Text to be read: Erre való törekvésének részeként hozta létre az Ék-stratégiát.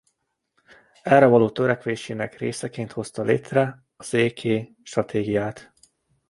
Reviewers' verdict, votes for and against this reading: rejected, 0, 2